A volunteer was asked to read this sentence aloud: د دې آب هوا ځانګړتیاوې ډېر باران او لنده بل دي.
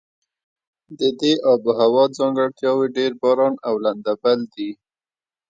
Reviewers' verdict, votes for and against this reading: accepted, 2, 0